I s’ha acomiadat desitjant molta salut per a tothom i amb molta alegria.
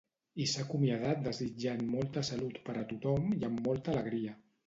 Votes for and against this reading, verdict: 2, 0, accepted